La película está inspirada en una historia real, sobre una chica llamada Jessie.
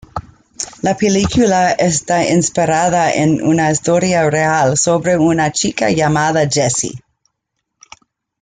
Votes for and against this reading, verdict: 2, 1, accepted